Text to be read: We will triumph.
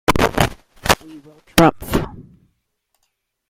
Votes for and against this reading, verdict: 0, 2, rejected